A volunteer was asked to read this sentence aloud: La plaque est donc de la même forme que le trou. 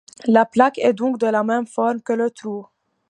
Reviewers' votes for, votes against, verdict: 2, 0, accepted